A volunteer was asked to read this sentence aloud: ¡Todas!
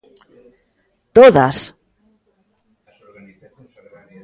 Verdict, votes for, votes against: rejected, 1, 2